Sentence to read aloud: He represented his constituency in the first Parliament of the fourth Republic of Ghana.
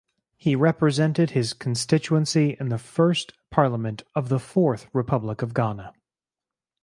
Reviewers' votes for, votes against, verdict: 4, 0, accepted